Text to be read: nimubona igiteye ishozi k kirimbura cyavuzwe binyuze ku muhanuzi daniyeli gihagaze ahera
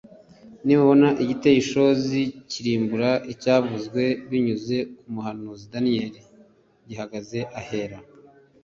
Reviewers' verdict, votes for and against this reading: accepted, 2, 0